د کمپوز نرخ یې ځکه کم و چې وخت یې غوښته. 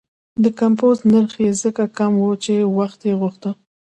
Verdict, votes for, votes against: rejected, 1, 2